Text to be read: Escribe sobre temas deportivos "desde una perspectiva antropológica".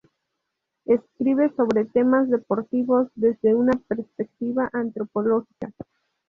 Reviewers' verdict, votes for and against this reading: accepted, 2, 0